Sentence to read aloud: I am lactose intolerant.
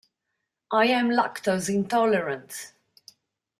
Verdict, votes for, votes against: accepted, 2, 0